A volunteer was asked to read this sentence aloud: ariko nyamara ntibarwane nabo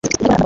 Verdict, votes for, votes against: rejected, 0, 3